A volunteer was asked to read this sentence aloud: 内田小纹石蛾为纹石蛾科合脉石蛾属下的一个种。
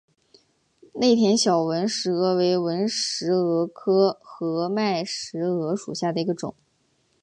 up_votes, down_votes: 4, 1